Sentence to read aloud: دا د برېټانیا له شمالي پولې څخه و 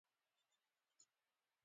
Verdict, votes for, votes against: accepted, 2, 0